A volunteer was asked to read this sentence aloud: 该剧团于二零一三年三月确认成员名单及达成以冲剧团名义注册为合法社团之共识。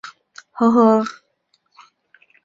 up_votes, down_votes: 0, 2